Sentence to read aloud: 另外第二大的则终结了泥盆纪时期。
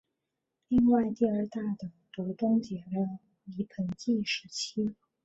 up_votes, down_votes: 1, 3